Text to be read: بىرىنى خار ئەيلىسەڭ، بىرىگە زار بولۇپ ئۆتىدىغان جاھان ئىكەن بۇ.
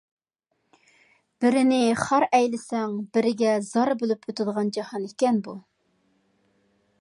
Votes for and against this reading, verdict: 2, 0, accepted